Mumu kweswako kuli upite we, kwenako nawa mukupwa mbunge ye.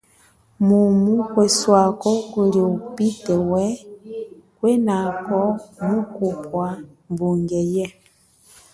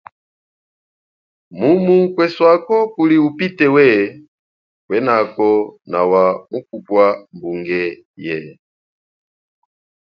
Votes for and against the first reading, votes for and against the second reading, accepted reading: 0, 2, 2, 0, second